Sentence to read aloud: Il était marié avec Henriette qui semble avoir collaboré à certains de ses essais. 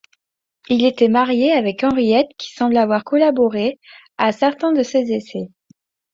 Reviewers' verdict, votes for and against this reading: accepted, 2, 0